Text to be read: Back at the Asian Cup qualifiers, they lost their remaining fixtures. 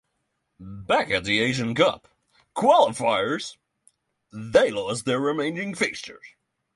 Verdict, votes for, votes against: rejected, 3, 6